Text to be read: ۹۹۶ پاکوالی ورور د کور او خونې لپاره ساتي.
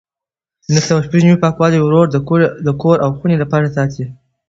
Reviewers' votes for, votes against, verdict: 0, 2, rejected